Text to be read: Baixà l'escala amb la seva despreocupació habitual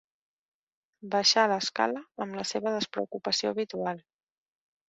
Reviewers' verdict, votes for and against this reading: accepted, 2, 0